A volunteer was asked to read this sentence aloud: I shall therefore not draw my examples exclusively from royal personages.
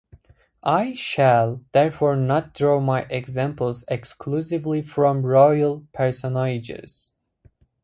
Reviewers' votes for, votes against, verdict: 2, 0, accepted